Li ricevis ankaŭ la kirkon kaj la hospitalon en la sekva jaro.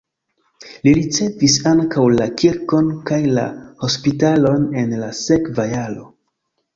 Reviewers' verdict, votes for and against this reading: accepted, 2, 1